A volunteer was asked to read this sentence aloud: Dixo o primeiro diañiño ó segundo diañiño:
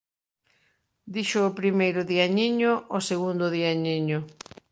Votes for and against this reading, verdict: 2, 0, accepted